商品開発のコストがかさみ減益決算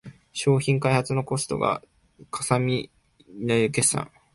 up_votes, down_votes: 2, 3